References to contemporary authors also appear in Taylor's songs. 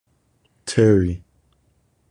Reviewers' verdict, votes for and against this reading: rejected, 0, 2